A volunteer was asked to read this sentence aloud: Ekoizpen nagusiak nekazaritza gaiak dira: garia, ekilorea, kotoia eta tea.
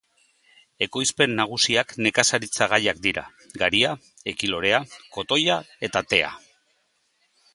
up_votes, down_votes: 2, 0